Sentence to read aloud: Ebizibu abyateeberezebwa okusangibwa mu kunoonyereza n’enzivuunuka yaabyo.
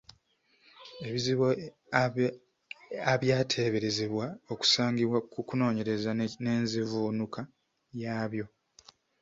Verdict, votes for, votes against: rejected, 0, 2